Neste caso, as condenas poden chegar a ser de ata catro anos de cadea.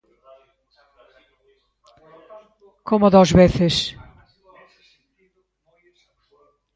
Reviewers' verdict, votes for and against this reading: rejected, 0, 2